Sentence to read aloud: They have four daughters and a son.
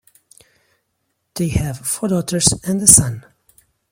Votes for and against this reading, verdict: 2, 1, accepted